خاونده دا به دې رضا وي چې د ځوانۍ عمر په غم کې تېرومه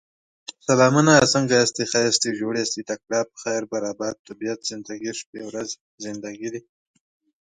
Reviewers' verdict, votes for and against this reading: rejected, 0, 2